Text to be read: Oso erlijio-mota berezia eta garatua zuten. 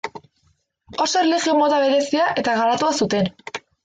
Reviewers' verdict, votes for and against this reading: accepted, 2, 0